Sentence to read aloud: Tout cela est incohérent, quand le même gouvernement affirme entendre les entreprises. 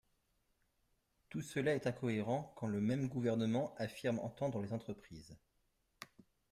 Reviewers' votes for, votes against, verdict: 2, 1, accepted